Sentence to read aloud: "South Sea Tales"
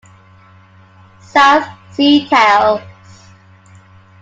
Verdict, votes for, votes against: accepted, 2, 0